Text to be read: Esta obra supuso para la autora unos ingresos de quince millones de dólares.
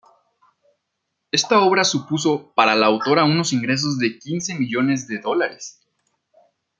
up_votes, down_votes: 2, 0